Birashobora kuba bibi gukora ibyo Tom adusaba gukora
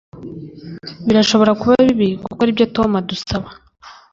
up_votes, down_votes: 1, 2